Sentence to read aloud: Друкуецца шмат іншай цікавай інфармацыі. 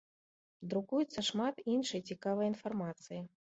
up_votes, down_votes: 2, 0